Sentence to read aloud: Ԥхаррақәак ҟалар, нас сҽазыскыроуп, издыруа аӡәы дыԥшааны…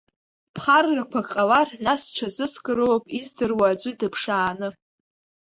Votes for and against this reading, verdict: 0, 2, rejected